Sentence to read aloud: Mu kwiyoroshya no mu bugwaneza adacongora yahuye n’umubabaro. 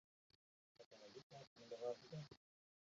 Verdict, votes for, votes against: rejected, 0, 2